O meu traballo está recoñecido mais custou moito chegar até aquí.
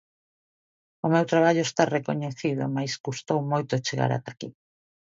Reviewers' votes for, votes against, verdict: 2, 0, accepted